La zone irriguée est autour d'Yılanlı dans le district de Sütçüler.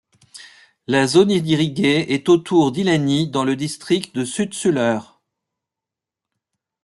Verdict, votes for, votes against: rejected, 0, 2